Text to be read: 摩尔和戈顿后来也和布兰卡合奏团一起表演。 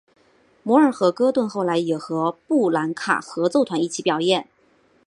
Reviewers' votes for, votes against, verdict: 2, 0, accepted